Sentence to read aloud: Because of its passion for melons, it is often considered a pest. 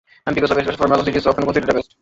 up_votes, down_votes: 0, 2